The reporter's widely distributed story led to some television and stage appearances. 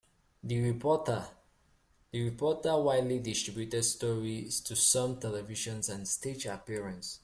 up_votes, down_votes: 0, 2